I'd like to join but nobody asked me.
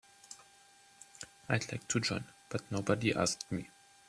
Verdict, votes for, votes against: accepted, 2, 0